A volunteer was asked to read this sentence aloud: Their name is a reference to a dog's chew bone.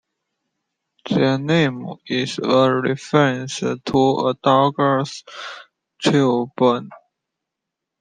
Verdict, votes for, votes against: rejected, 0, 2